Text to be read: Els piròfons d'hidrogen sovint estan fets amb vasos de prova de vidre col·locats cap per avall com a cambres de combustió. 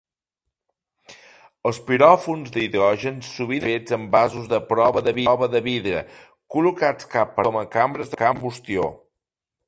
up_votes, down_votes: 0, 2